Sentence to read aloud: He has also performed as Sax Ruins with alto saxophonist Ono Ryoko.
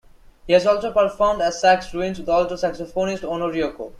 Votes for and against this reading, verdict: 2, 0, accepted